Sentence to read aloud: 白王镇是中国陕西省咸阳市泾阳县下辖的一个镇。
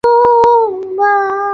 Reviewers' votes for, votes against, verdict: 2, 0, accepted